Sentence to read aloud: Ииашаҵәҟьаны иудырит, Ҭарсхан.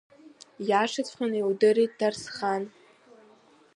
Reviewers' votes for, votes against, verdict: 0, 2, rejected